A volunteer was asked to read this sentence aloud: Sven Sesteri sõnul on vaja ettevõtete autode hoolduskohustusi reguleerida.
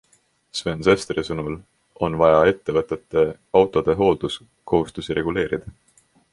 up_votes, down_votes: 3, 2